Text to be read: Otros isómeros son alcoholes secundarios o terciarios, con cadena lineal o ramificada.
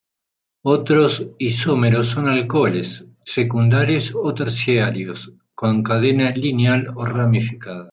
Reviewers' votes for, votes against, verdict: 1, 2, rejected